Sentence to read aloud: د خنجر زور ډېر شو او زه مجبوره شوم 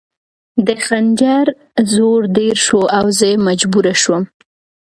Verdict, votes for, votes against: rejected, 0, 2